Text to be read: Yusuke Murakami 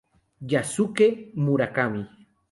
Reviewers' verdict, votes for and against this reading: rejected, 2, 4